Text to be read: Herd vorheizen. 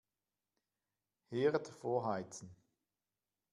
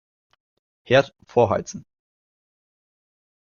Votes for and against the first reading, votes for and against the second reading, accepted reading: 2, 0, 0, 2, first